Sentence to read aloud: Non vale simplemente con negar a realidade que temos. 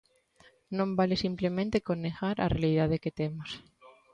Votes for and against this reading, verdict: 2, 0, accepted